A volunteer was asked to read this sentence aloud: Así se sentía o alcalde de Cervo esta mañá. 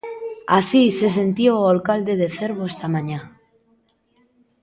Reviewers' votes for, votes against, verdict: 3, 1, accepted